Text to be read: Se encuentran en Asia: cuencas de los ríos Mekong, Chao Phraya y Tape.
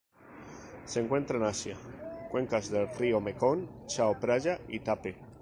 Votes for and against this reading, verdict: 4, 0, accepted